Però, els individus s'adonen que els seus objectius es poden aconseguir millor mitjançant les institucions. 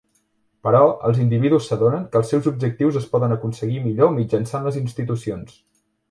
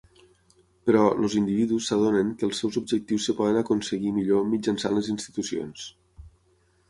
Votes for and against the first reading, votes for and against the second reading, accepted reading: 3, 0, 0, 6, first